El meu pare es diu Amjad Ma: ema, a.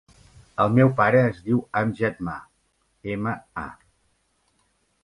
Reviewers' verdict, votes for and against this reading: accepted, 4, 0